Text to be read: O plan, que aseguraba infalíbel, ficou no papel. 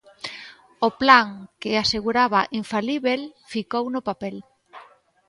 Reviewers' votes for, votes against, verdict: 2, 0, accepted